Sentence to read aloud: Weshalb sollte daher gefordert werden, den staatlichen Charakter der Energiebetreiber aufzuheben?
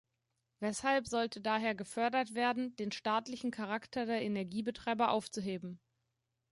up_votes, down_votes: 0, 2